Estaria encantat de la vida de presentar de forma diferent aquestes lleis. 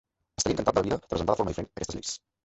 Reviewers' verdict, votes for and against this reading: rejected, 0, 2